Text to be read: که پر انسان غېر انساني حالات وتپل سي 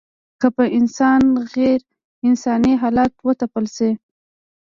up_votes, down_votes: 0, 2